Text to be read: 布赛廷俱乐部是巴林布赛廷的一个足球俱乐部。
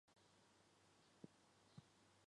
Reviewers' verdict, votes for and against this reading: rejected, 0, 5